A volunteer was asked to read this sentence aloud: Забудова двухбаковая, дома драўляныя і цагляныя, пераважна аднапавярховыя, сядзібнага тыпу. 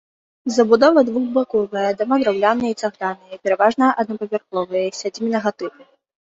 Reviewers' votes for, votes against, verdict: 0, 2, rejected